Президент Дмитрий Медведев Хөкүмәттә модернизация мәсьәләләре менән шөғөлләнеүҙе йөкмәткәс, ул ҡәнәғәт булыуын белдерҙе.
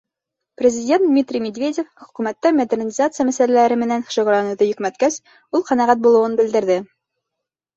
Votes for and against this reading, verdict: 0, 2, rejected